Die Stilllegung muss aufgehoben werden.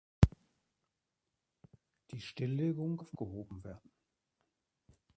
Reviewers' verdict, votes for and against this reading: rejected, 0, 2